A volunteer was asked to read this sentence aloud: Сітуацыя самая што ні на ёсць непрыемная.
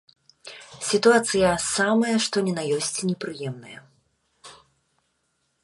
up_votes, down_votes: 3, 0